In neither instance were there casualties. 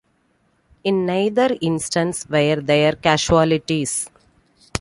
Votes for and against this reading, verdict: 2, 0, accepted